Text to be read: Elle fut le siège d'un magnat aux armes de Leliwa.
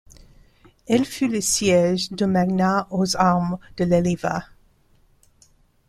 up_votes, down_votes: 0, 2